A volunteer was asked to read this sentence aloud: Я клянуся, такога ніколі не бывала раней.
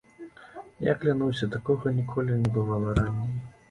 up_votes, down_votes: 0, 2